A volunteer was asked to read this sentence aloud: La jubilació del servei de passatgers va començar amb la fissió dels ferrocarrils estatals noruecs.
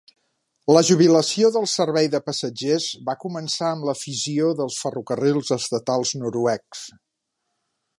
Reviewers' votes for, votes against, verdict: 2, 0, accepted